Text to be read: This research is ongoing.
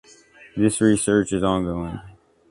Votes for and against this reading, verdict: 2, 0, accepted